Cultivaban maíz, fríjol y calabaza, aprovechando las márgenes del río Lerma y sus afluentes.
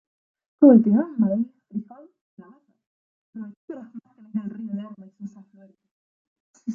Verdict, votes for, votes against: rejected, 0, 2